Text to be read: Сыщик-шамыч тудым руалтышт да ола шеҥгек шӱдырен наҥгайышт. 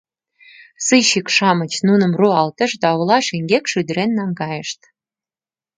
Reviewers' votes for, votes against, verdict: 1, 2, rejected